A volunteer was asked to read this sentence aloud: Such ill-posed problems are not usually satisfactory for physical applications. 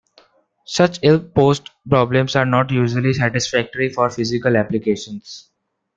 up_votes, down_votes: 1, 2